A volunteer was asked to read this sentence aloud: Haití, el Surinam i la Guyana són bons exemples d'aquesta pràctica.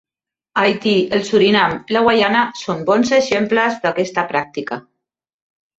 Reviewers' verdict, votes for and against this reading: rejected, 1, 2